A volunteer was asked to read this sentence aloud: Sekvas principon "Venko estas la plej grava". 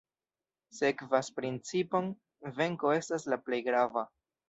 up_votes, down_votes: 0, 2